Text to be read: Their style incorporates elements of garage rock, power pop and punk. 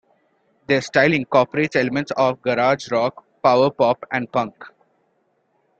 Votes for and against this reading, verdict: 2, 1, accepted